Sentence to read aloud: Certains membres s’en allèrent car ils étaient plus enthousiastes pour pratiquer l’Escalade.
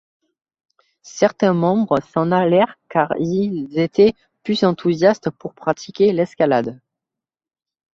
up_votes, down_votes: 0, 2